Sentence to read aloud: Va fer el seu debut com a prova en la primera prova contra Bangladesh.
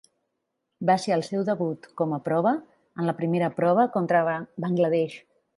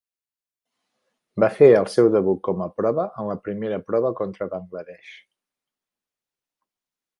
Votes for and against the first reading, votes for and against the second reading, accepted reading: 2, 4, 4, 0, second